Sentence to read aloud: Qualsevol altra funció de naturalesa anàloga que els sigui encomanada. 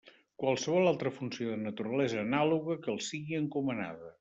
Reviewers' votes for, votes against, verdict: 2, 0, accepted